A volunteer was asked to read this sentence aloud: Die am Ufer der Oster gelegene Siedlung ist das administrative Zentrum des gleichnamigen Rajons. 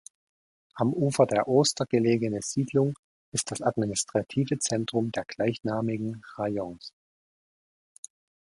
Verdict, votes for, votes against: rejected, 0, 2